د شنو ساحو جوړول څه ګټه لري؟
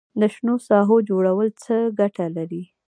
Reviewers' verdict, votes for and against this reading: rejected, 1, 2